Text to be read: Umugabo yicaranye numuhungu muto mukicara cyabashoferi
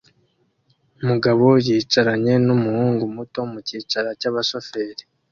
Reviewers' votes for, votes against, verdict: 2, 0, accepted